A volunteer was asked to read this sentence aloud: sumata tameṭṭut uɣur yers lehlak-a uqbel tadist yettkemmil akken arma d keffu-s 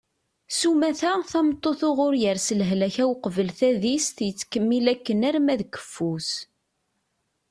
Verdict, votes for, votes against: accepted, 2, 0